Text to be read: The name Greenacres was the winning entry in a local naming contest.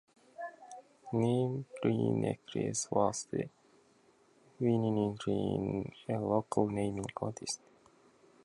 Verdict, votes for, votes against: rejected, 1, 2